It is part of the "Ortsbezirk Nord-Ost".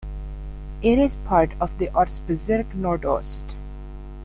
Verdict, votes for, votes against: accepted, 2, 0